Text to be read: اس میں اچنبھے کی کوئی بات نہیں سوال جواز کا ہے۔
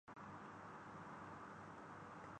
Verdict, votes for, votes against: rejected, 0, 2